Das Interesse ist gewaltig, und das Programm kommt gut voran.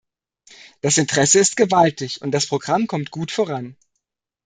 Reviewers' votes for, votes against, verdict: 2, 0, accepted